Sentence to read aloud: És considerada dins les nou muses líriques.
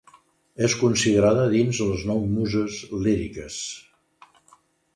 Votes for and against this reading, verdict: 2, 0, accepted